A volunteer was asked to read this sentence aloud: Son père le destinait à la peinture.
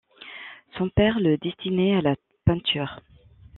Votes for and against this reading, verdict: 1, 2, rejected